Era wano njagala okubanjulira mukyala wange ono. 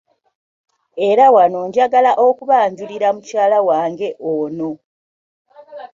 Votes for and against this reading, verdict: 2, 0, accepted